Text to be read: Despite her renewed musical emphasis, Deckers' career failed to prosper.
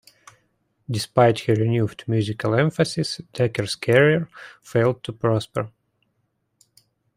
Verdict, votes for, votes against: accepted, 2, 1